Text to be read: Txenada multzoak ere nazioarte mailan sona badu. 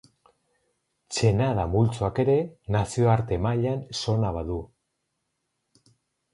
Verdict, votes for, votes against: rejected, 2, 2